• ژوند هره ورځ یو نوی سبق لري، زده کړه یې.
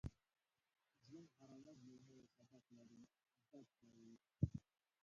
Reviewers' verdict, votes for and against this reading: rejected, 0, 2